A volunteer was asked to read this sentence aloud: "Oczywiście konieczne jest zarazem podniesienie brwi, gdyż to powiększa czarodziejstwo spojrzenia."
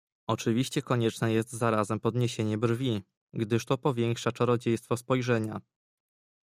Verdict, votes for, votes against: accepted, 2, 0